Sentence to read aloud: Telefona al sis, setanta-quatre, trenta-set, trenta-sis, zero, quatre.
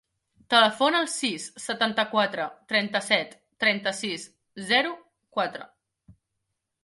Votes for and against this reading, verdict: 3, 0, accepted